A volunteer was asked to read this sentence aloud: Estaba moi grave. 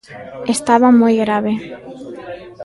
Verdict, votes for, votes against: rejected, 1, 2